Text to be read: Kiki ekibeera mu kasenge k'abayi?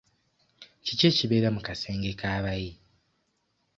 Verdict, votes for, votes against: accepted, 2, 0